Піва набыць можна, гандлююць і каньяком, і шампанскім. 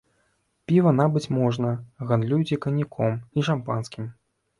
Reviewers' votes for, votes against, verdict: 0, 3, rejected